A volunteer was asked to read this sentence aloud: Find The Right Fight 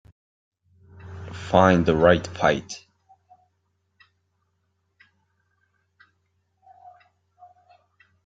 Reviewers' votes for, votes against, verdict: 4, 0, accepted